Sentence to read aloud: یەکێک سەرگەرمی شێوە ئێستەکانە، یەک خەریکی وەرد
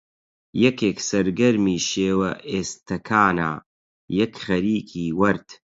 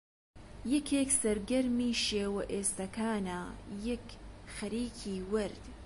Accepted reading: second